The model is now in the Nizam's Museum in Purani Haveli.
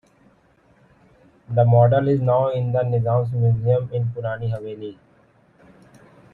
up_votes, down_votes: 2, 1